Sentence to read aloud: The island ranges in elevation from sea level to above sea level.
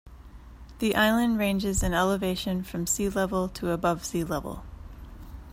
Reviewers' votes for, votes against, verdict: 2, 0, accepted